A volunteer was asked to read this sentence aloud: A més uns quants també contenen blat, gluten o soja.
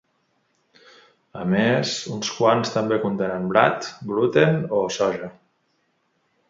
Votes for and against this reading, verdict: 3, 0, accepted